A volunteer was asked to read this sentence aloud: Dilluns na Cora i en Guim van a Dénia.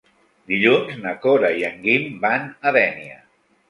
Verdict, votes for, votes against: accepted, 3, 0